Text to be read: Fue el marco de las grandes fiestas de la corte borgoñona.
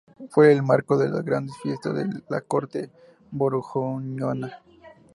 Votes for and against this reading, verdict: 2, 0, accepted